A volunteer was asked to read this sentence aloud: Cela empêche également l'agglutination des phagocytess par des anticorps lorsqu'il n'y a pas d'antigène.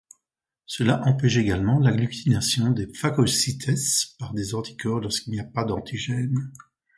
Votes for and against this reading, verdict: 2, 0, accepted